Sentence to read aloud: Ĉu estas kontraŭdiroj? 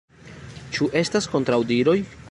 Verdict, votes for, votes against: accepted, 2, 0